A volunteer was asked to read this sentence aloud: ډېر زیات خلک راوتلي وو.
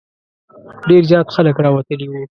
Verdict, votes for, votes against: accepted, 2, 0